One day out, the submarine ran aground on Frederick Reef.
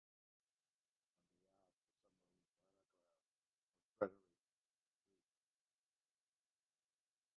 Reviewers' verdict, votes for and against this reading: rejected, 0, 2